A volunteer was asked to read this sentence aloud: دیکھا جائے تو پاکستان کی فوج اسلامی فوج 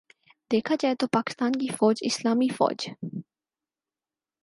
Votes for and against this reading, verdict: 4, 0, accepted